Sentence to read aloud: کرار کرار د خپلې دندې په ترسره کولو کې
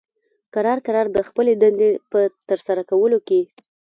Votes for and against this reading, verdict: 2, 1, accepted